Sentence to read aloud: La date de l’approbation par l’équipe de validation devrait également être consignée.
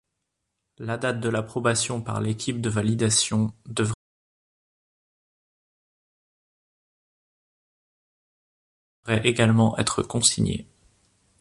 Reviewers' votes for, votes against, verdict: 0, 2, rejected